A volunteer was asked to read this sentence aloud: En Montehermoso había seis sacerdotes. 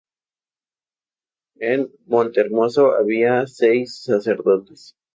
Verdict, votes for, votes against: rejected, 0, 2